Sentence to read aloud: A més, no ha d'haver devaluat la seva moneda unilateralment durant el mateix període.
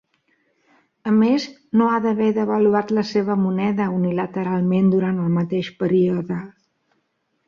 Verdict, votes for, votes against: accepted, 2, 0